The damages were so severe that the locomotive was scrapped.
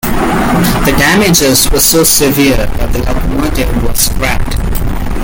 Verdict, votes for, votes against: accepted, 2, 0